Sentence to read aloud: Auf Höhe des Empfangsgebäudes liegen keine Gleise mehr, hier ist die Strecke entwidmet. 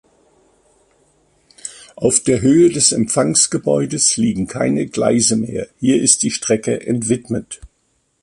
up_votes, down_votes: 1, 2